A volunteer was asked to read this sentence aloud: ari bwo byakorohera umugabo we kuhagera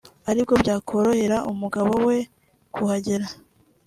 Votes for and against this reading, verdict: 1, 2, rejected